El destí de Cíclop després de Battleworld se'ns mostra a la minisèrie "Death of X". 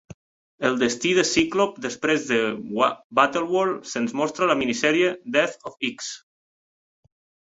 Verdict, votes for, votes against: rejected, 0, 2